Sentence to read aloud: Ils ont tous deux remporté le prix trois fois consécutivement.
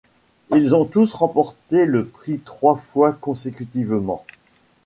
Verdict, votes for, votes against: rejected, 1, 2